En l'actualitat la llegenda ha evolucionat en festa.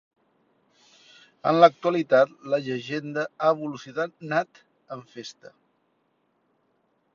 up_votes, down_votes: 0, 2